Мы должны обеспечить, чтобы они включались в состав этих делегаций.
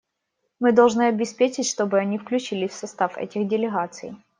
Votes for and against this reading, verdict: 0, 2, rejected